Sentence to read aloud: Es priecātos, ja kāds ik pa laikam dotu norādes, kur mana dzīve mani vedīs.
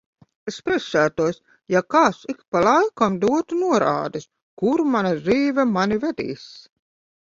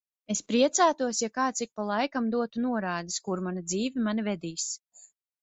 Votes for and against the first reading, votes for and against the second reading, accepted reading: 1, 2, 2, 0, second